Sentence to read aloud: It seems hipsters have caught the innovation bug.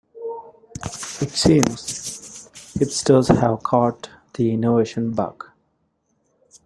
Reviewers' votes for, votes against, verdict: 0, 2, rejected